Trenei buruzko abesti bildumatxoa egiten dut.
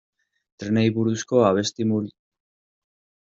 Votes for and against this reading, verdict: 0, 2, rejected